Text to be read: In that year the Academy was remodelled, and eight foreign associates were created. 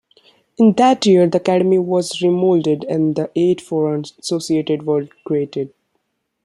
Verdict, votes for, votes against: rejected, 1, 2